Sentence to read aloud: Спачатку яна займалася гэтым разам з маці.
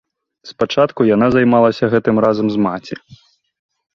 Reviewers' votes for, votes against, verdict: 2, 0, accepted